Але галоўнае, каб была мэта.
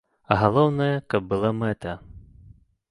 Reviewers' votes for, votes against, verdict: 0, 2, rejected